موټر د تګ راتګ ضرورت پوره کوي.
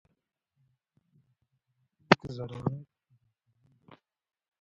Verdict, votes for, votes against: rejected, 1, 2